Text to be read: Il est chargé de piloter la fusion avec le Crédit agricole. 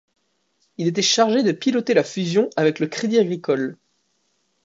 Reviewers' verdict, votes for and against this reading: rejected, 1, 2